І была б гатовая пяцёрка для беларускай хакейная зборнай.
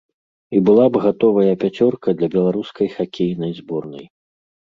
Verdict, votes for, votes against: rejected, 1, 2